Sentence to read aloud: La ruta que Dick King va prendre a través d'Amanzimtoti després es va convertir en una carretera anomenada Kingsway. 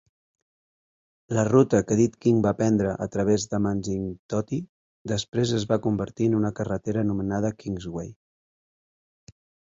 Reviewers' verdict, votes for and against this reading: accepted, 2, 0